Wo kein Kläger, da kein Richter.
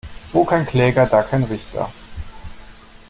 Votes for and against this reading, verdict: 2, 0, accepted